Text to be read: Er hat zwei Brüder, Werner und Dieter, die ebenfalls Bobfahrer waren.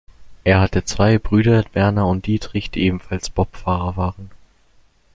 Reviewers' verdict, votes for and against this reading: rejected, 0, 2